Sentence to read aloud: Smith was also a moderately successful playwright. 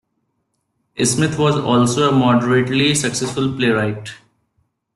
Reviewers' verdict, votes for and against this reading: rejected, 1, 2